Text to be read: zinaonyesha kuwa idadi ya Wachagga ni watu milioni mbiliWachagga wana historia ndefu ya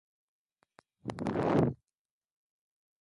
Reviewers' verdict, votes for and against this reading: rejected, 0, 2